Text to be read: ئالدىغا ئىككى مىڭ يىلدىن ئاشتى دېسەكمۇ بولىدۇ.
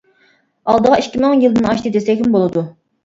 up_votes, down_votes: 2, 0